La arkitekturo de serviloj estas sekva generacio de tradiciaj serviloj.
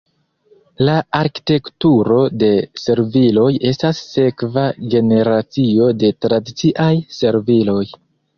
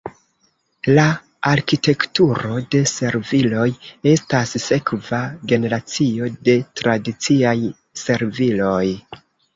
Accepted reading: second